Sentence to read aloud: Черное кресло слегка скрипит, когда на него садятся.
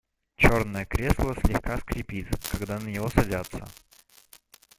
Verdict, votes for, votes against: accepted, 2, 0